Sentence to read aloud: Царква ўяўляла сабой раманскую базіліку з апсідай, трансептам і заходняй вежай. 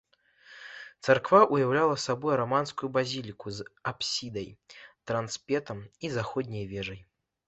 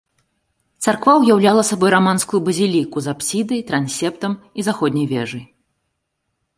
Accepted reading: second